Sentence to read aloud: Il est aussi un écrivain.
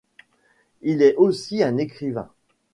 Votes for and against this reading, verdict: 2, 0, accepted